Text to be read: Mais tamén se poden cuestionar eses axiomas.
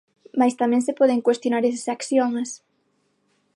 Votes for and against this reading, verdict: 6, 0, accepted